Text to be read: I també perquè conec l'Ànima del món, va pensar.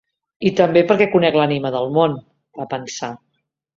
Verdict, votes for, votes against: accepted, 3, 0